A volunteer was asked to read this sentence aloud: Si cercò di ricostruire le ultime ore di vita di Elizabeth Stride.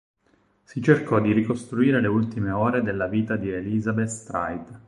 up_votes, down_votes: 2, 6